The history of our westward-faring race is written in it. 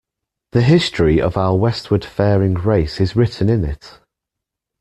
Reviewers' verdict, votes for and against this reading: accepted, 2, 0